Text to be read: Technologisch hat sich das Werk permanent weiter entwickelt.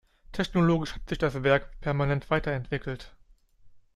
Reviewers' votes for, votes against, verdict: 2, 0, accepted